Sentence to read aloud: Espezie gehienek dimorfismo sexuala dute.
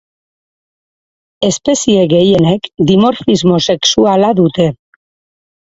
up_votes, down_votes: 4, 0